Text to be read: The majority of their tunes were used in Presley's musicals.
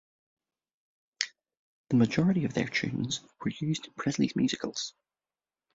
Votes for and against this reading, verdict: 2, 0, accepted